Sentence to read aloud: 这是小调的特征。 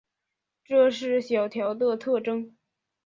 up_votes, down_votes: 1, 2